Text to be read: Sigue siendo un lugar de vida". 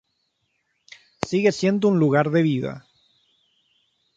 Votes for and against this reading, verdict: 3, 0, accepted